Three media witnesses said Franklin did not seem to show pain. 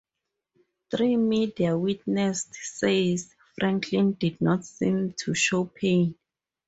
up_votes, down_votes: 0, 4